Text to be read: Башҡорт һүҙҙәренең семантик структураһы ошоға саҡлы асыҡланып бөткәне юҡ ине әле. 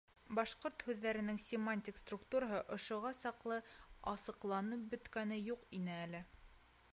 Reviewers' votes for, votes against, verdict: 2, 0, accepted